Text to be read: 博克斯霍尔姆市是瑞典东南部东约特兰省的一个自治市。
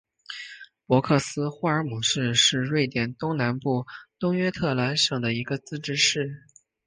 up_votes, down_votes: 1, 2